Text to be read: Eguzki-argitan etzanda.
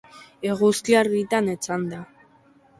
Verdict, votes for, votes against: accepted, 2, 0